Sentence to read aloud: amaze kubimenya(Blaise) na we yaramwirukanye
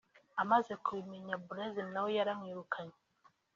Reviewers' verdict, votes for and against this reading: accepted, 2, 1